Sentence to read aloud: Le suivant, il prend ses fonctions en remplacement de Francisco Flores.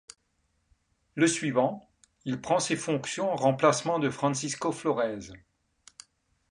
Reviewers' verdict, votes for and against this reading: accepted, 2, 0